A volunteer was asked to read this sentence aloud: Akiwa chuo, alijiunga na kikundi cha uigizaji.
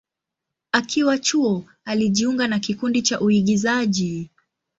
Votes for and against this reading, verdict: 0, 2, rejected